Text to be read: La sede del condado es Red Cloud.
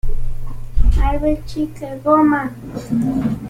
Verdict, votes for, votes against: rejected, 0, 2